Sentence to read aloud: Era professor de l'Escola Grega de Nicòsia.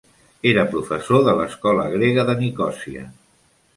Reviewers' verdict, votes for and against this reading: accepted, 3, 0